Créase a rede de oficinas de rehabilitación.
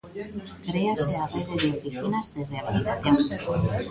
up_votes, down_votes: 0, 2